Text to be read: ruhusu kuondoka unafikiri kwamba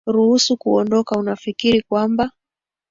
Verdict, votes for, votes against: accepted, 2, 1